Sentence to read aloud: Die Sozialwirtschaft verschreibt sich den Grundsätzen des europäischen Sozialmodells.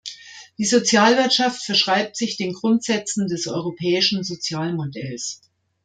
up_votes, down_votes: 2, 0